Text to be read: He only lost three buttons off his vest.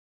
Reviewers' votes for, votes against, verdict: 0, 2, rejected